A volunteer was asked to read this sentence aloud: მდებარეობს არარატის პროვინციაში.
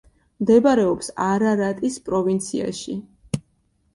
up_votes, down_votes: 2, 0